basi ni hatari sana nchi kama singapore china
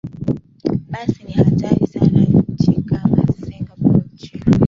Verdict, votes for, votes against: rejected, 2, 3